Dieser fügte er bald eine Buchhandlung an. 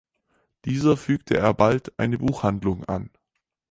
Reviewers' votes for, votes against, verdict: 4, 0, accepted